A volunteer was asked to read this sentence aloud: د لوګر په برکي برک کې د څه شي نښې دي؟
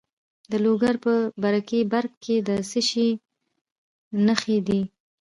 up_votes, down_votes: 1, 2